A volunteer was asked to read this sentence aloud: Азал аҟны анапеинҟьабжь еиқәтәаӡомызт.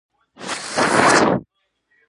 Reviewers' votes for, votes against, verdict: 0, 2, rejected